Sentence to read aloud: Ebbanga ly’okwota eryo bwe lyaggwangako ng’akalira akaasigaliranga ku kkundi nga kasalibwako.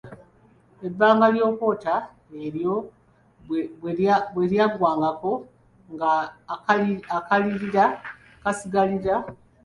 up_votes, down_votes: 0, 2